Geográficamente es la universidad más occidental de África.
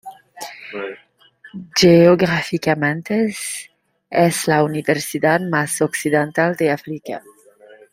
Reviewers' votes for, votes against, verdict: 0, 2, rejected